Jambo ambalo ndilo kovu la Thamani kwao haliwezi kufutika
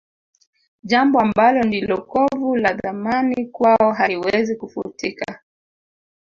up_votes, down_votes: 1, 2